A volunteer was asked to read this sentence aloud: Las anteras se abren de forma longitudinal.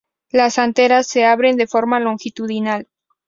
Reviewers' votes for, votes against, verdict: 2, 2, rejected